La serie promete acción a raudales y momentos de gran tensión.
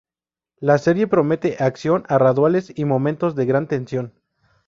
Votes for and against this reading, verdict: 0, 2, rejected